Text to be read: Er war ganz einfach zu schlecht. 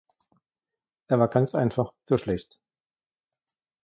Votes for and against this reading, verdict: 2, 0, accepted